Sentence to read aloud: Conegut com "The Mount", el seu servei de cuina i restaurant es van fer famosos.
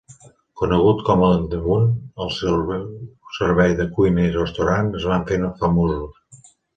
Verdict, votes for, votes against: accepted, 2, 1